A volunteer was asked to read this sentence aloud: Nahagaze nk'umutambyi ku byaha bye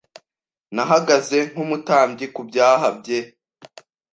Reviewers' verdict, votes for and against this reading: accepted, 2, 0